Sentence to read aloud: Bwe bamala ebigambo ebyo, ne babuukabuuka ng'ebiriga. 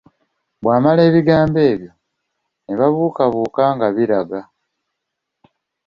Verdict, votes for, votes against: rejected, 1, 2